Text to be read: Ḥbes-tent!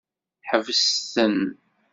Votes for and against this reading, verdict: 1, 2, rejected